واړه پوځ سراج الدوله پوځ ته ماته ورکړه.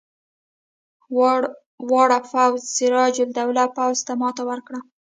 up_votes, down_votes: 1, 2